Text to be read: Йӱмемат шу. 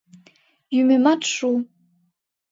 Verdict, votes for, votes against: accepted, 2, 0